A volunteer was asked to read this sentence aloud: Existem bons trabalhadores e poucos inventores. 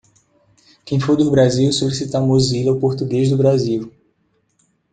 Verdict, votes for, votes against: rejected, 0, 2